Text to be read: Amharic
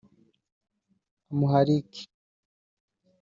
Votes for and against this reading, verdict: 0, 2, rejected